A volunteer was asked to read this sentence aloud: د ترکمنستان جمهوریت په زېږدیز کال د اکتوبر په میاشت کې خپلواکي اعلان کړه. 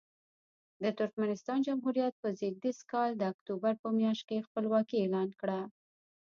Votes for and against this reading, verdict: 2, 0, accepted